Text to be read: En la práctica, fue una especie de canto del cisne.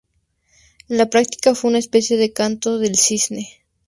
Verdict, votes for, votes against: accepted, 2, 0